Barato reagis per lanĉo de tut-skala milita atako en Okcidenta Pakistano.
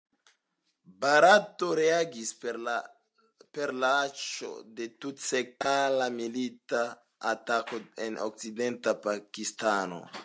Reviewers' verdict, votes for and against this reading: rejected, 0, 2